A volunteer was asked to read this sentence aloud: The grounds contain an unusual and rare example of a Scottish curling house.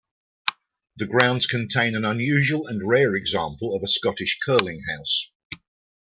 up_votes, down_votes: 0, 2